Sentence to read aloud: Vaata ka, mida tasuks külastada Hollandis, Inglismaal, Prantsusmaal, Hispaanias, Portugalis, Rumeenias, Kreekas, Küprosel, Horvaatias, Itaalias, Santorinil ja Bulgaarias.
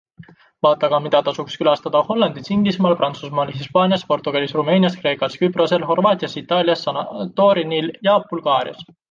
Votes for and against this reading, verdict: 0, 2, rejected